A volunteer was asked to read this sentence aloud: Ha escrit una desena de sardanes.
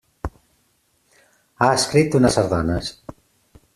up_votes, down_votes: 1, 2